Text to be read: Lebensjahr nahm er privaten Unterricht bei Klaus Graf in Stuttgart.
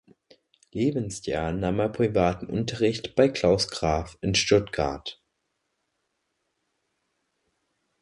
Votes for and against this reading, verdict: 2, 0, accepted